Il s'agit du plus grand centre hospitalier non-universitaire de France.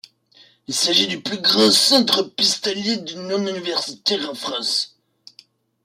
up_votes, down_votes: 0, 2